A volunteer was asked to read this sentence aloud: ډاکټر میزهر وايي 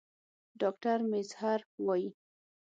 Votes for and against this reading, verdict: 3, 6, rejected